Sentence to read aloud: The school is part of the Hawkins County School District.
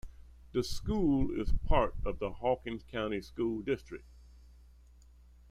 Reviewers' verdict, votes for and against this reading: rejected, 1, 2